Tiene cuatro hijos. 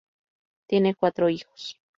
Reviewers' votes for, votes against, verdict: 2, 0, accepted